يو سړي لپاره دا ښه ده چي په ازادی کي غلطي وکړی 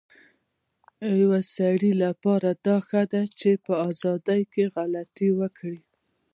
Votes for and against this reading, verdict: 2, 0, accepted